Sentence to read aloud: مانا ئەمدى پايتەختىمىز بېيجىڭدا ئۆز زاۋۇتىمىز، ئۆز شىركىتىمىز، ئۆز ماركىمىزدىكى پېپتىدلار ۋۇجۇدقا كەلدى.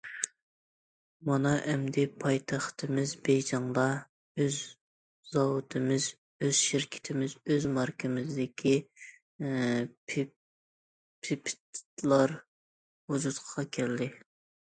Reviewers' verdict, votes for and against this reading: rejected, 0, 2